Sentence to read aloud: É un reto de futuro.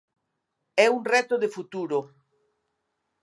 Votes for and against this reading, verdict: 2, 0, accepted